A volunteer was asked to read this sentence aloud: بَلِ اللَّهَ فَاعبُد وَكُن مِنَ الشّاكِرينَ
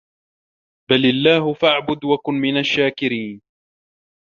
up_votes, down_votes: 0, 2